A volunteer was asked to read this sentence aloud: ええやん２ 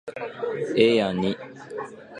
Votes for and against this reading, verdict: 0, 2, rejected